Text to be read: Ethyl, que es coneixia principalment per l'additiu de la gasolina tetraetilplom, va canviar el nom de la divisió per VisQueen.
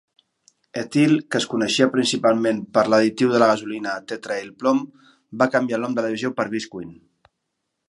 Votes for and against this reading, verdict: 2, 3, rejected